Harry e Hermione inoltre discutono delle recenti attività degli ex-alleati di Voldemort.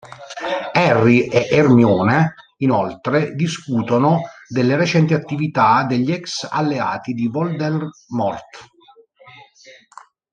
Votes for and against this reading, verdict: 1, 2, rejected